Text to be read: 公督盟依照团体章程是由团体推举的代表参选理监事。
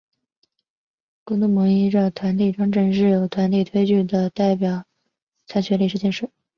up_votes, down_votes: 0, 2